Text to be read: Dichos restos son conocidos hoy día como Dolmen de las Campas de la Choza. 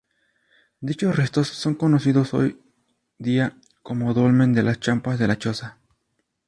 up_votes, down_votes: 0, 2